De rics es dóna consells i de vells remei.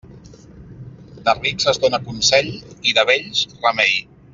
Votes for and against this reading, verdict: 1, 2, rejected